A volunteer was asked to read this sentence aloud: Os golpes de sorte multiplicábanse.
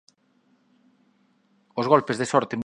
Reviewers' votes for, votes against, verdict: 1, 20, rejected